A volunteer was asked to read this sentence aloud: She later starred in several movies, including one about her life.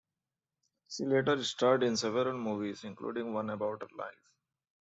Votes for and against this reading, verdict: 2, 0, accepted